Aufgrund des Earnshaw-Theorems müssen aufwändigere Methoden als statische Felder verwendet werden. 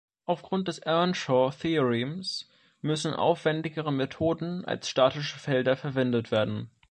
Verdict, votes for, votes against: rejected, 1, 2